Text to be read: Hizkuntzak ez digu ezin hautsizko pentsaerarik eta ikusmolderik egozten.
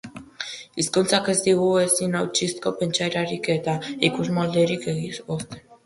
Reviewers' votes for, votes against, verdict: 0, 3, rejected